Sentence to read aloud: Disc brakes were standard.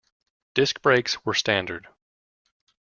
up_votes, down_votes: 2, 0